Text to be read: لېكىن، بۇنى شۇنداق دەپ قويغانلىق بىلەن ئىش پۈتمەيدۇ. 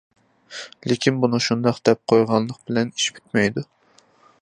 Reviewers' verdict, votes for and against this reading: accepted, 2, 0